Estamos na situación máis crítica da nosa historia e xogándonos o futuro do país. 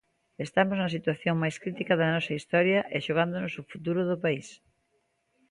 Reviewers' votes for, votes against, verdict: 2, 0, accepted